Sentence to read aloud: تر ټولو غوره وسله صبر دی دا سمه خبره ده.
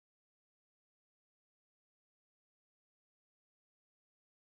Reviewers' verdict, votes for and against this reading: rejected, 1, 2